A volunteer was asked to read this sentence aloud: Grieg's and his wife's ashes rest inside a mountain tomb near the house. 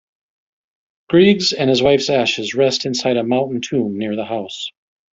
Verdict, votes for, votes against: accepted, 2, 0